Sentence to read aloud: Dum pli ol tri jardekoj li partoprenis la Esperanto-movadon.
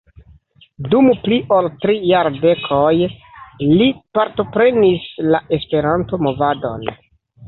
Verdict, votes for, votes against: accepted, 2, 1